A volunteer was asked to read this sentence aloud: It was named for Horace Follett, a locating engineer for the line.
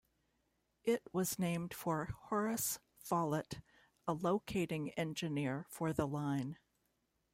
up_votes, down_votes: 2, 0